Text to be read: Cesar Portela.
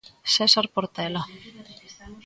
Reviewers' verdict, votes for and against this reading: rejected, 2, 3